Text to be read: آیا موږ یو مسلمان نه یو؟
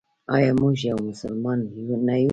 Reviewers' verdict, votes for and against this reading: accepted, 2, 0